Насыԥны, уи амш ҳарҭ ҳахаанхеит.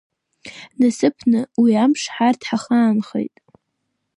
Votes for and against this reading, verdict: 0, 2, rejected